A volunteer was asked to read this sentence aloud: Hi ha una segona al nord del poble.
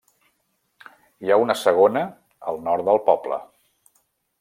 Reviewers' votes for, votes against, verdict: 3, 0, accepted